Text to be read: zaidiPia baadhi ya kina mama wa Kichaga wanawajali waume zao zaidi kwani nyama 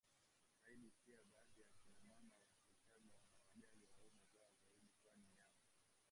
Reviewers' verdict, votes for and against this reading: rejected, 0, 3